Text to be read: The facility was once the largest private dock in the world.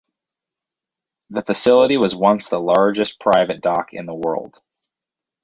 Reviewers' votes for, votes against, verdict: 2, 2, rejected